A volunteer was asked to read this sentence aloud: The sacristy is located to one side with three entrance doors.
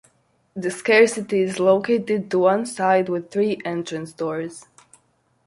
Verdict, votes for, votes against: rejected, 0, 2